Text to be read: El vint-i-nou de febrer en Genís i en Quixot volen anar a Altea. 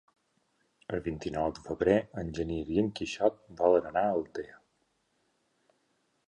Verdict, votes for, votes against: accepted, 3, 1